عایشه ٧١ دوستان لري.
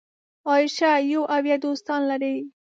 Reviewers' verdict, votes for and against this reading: rejected, 0, 2